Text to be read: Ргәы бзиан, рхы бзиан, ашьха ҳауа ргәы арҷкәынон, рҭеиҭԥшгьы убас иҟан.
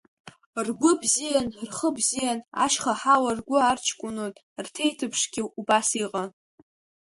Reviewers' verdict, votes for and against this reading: accepted, 2, 1